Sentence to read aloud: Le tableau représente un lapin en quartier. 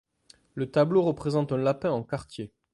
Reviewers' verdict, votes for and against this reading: accepted, 2, 1